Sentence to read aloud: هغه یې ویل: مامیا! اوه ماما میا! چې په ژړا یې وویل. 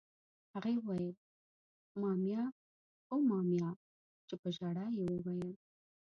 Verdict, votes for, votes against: rejected, 0, 2